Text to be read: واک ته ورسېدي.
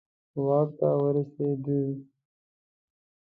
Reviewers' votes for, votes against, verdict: 2, 0, accepted